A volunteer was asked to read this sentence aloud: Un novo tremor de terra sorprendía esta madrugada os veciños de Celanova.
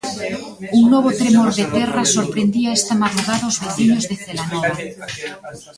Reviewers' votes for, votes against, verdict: 2, 1, accepted